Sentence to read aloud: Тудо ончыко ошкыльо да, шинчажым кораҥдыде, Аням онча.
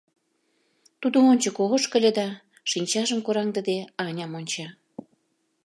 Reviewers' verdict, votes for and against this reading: accepted, 2, 0